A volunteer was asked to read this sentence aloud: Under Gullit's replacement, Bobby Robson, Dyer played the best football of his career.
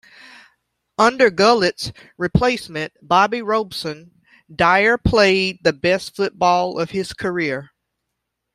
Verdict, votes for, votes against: rejected, 1, 2